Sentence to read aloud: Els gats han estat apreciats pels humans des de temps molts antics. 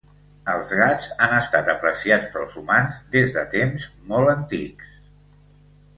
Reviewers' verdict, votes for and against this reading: accepted, 2, 0